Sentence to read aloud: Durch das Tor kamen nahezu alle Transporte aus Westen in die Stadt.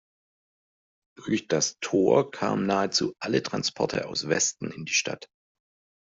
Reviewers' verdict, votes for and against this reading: accepted, 2, 0